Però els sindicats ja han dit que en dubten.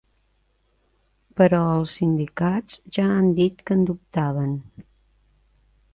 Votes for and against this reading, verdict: 0, 2, rejected